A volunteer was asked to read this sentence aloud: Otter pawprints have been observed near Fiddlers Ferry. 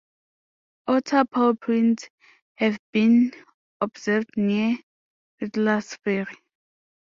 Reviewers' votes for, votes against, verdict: 2, 1, accepted